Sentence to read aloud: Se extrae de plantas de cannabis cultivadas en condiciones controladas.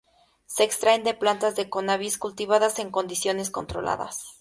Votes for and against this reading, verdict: 0, 2, rejected